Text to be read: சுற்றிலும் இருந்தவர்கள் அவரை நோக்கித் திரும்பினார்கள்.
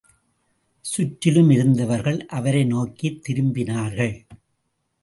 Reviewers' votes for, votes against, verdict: 2, 0, accepted